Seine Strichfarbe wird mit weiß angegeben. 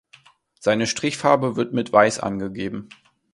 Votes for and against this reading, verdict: 2, 0, accepted